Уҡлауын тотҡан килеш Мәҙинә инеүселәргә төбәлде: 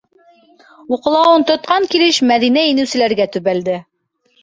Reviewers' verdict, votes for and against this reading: accepted, 2, 0